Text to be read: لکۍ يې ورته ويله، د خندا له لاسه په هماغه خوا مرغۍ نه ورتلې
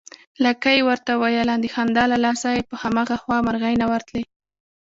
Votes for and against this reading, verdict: 2, 1, accepted